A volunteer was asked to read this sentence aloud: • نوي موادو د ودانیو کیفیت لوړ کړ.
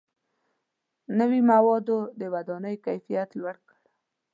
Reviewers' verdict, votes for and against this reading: accepted, 2, 0